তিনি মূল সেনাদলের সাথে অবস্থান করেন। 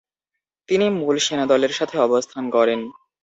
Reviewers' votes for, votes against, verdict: 0, 2, rejected